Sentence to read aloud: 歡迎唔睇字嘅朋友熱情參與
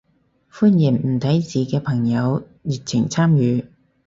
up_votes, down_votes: 4, 0